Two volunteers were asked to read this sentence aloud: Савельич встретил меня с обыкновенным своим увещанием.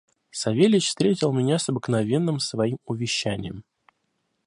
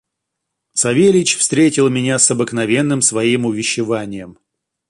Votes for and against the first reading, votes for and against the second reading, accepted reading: 2, 0, 0, 2, first